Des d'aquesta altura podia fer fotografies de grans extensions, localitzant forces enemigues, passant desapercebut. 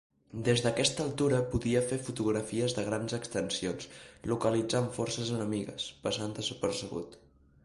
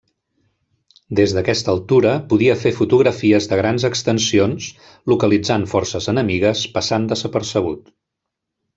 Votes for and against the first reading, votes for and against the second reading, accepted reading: 3, 0, 1, 2, first